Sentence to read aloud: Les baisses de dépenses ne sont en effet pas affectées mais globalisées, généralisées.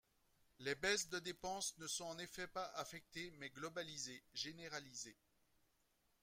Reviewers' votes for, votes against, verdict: 2, 0, accepted